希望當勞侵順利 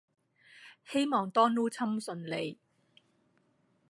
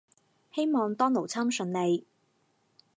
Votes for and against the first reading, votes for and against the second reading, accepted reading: 1, 2, 4, 0, second